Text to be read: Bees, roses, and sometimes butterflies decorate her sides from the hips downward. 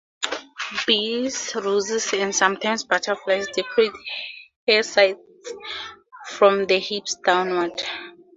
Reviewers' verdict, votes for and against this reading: accepted, 2, 0